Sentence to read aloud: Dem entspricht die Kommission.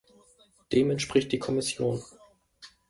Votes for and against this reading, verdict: 2, 0, accepted